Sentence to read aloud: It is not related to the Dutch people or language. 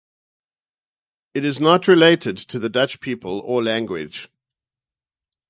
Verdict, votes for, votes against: accepted, 2, 0